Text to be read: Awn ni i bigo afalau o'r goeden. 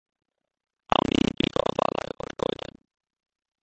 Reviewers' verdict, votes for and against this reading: rejected, 0, 2